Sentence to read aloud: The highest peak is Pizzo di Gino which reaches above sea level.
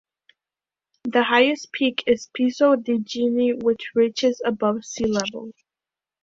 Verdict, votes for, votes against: rejected, 1, 2